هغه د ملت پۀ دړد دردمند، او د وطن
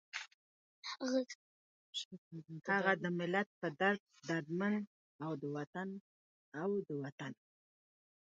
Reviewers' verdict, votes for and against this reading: rejected, 1, 2